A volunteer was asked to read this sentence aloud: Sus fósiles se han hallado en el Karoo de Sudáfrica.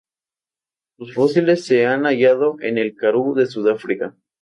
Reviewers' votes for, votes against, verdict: 2, 0, accepted